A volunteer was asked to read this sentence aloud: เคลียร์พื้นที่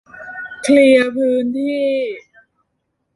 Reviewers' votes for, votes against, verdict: 0, 2, rejected